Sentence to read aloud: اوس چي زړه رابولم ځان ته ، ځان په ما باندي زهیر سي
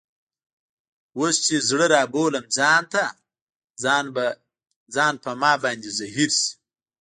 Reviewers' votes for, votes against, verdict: 0, 2, rejected